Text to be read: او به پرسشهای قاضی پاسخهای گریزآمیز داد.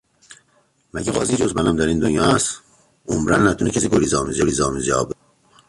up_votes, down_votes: 0, 2